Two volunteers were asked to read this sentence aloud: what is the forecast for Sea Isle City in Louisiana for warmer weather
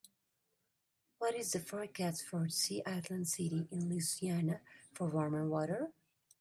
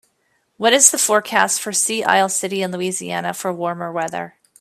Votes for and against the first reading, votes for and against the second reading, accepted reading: 0, 2, 2, 0, second